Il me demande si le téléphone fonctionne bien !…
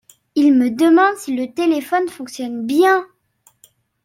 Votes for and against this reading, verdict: 2, 0, accepted